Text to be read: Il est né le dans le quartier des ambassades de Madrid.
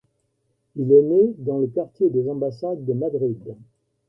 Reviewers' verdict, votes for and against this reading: rejected, 0, 2